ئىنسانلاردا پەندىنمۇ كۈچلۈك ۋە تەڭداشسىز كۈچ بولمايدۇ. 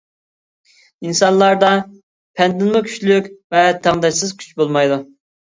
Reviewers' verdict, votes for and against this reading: accepted, 2, 0